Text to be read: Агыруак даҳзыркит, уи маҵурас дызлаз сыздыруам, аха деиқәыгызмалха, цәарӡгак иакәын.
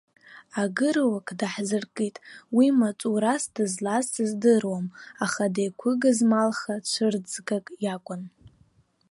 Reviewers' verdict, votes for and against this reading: rejected, 2, 3